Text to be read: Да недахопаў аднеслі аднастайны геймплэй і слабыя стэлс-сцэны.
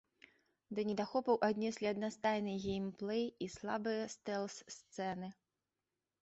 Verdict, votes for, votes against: accepted, 2, 0